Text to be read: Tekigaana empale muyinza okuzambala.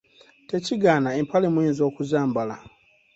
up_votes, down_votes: 2, 0